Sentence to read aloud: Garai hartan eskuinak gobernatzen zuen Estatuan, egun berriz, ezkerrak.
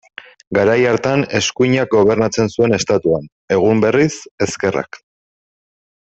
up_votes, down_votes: 2, 0